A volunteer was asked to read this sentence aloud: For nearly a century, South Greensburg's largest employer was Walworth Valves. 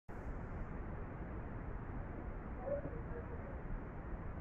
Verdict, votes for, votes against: rejected, 0, 2